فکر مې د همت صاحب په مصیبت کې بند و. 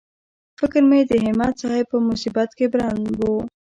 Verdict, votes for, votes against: accepted, 2, 0